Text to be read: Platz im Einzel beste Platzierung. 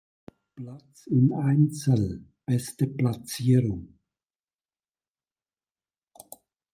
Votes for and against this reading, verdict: 0, 2, rejected